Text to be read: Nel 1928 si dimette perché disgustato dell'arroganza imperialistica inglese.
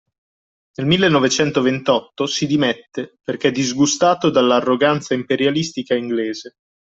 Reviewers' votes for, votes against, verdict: 0, 2, rejected